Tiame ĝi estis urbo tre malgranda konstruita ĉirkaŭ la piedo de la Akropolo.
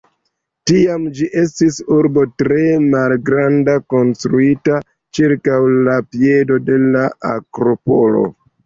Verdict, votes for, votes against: accepted, 2, 1